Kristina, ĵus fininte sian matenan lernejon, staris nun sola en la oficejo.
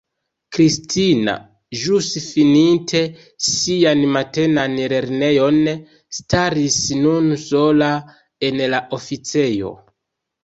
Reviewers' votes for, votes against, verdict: 1, 2, rejected